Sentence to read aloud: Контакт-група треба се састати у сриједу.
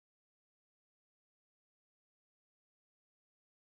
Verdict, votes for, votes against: rejected, 0, 2